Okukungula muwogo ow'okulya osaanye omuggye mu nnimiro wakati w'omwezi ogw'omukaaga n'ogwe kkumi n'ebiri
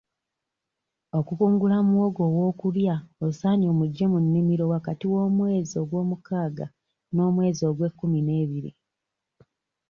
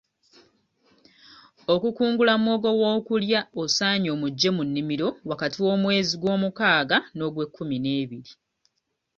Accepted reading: second